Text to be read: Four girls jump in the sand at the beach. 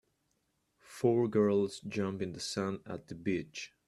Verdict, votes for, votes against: accepted, 2, 0